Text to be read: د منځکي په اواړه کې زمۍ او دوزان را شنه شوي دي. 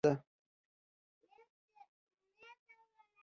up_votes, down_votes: 2, 1